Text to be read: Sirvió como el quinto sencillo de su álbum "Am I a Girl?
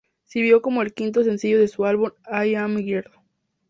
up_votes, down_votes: 2, 0